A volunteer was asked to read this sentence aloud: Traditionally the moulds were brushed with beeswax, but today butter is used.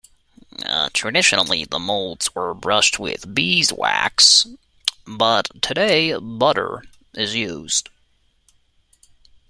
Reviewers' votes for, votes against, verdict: 2, 0, accepted